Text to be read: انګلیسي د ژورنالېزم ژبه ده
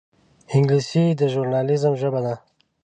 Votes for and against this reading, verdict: 2, 0, accepted